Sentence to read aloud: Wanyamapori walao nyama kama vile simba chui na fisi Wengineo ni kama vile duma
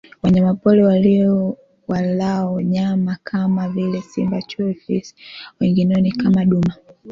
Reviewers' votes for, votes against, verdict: 2, 3, rejected